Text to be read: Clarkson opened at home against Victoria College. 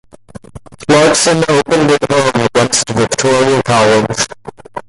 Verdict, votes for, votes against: accepted, 2, 0